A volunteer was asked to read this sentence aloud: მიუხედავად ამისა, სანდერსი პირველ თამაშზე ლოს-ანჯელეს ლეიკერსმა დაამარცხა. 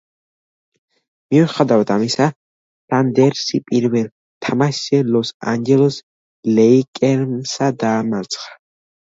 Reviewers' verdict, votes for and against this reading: accepted, 2, 1